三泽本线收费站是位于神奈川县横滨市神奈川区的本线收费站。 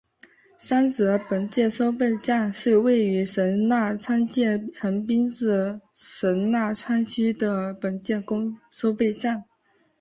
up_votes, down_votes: 3, 0